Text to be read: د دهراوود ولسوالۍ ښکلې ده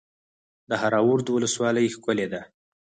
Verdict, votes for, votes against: accepted, 4, 0